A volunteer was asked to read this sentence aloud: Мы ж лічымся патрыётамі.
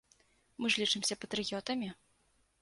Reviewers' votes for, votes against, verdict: 2, 0, accepted